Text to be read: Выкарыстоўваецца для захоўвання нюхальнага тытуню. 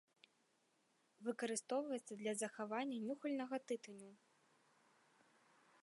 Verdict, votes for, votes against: rejected, 1, 2